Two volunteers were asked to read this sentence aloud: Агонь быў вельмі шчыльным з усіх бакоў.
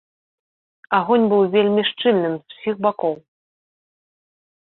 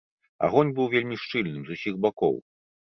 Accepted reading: second